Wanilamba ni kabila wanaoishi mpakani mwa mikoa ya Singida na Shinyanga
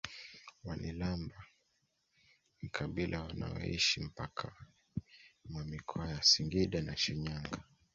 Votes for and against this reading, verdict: 1, 2, rejected